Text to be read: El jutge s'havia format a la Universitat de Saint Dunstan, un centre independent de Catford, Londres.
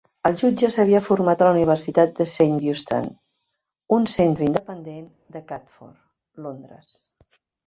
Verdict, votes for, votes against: rejected, 1, 2